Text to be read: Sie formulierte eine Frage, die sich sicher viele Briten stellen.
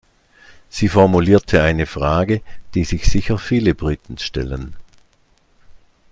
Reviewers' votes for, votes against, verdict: 2, 0, accepted